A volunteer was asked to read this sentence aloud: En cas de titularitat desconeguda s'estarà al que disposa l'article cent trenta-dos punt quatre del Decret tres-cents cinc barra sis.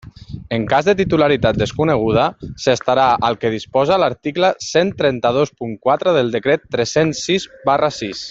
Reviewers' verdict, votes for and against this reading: rejected, 1, 2